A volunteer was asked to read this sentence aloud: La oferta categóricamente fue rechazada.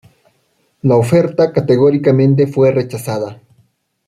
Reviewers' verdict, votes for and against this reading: accepted, 2, 0